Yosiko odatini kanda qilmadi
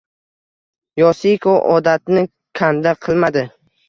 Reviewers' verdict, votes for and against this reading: accepted, 2, 0